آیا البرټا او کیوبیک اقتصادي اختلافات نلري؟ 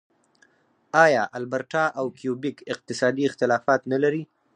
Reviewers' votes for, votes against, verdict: 2, 4, rejected